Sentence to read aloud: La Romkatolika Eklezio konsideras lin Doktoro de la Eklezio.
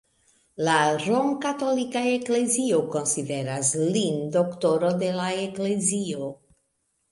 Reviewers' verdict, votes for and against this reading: accepted, 2, 0